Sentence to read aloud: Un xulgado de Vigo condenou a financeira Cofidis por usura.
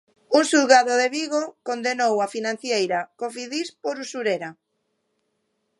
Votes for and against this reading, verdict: 0, 2, rejected